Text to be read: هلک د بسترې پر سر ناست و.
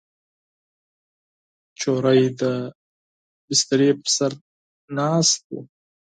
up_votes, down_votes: 2, 4